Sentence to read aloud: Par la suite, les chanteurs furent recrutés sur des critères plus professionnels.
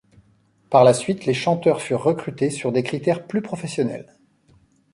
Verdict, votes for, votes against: accepted, 2, 0